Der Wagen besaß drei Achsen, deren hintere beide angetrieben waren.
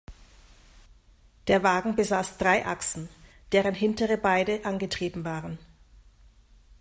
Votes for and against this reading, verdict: 2, 0, accepted